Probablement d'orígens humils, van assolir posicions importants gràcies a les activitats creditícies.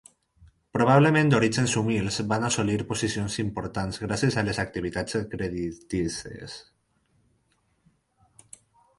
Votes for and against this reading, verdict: 4, 0, accepted